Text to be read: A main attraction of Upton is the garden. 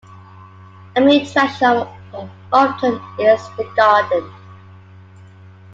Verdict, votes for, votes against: accepted, 2, 1